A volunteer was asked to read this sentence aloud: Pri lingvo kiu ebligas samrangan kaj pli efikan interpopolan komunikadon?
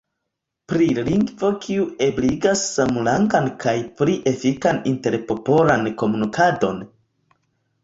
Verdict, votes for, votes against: rejected, 1, 2